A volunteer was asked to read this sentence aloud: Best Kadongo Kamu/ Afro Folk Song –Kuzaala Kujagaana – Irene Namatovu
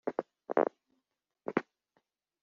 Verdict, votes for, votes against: rejected, 0, 2